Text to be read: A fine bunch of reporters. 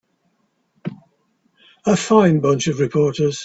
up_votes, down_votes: 2, 1